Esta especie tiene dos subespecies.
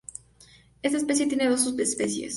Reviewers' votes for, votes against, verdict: 2, 0, accepted